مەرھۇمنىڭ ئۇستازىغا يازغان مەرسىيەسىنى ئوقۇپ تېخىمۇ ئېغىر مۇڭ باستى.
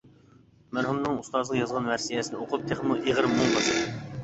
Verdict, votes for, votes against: rejected, 1, 2